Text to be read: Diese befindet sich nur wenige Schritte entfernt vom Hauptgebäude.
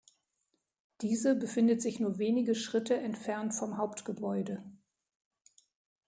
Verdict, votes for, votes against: accepted, 2, 0